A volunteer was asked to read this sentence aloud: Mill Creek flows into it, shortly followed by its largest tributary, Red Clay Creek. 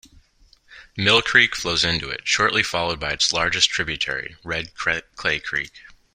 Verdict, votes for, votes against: rejected, 0, 2